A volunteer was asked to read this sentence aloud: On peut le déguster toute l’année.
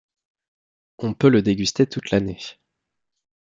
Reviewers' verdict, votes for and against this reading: accepted, 2, 0